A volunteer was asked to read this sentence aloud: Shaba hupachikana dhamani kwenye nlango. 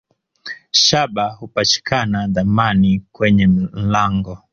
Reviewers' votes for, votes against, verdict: 1, 2, rejected